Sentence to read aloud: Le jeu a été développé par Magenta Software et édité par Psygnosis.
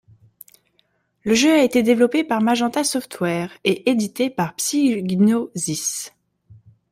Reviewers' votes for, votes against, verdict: 1, 2, rejected